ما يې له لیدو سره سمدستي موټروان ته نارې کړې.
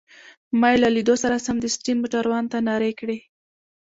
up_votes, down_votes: 2, 0